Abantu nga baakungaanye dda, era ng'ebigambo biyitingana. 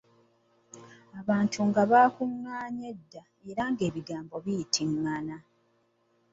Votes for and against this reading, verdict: 2, 0, accepted